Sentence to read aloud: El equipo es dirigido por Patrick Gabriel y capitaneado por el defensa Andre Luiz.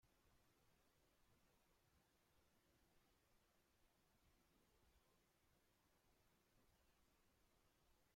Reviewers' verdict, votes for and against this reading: rejected, 0, 2